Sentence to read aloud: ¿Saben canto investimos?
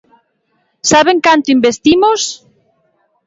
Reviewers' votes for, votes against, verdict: 3, 0, accepted